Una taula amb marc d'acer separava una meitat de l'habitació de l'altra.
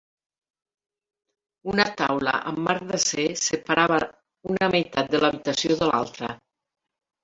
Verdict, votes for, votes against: accepted, 3, 0